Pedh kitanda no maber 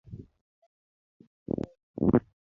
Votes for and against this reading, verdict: 0, 2, rejected